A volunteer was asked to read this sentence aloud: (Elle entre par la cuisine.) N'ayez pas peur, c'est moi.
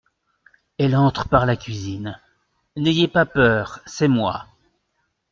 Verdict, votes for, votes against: accepted, 2, 0